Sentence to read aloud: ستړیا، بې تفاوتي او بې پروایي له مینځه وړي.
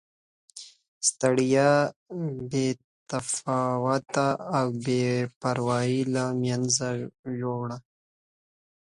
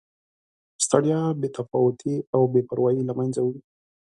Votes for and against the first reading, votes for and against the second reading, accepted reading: 0, 2, 2, 0, second